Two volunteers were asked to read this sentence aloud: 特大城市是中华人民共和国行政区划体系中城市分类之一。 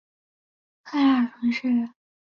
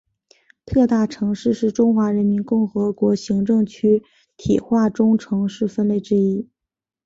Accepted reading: second